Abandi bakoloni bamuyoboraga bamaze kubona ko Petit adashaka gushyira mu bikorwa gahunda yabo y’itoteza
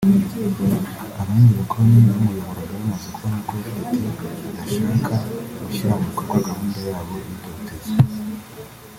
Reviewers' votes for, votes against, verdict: 0, 2, rejected